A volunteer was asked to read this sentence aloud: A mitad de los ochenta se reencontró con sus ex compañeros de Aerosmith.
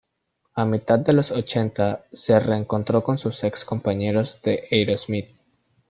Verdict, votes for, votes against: accepted, 2, 0